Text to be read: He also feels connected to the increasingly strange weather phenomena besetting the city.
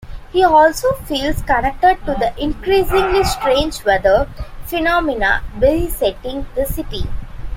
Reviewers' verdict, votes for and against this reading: accepted, 2, 1